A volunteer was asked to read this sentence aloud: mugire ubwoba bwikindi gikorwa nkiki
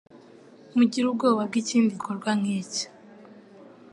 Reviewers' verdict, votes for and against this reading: accepted, 3, 0